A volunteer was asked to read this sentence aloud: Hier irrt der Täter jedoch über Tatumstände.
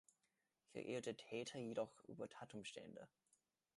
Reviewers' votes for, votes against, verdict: 2, 0, accepted